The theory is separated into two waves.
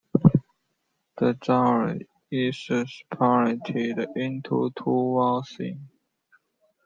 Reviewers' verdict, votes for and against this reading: rejected, 0, 2